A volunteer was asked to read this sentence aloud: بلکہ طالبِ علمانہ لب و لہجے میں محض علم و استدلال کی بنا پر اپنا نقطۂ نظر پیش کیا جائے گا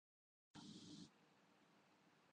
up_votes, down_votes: 0, 4